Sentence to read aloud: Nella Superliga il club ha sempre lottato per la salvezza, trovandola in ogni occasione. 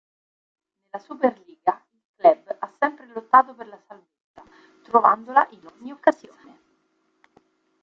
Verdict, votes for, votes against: rejected, 0, 2